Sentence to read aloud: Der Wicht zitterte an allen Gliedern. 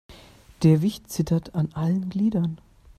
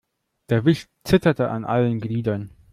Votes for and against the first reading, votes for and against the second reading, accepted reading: 1, 2, 2, 0, second